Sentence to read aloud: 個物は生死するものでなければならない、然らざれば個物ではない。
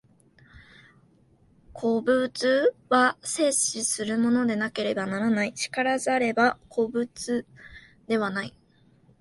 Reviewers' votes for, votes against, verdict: 1, 2, rejected